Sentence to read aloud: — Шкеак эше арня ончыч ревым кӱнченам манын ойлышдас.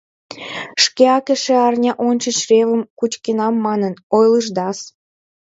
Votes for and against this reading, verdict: 0, 2, rejected